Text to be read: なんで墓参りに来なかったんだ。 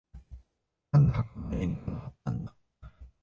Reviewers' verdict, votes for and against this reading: rejected, 1, 2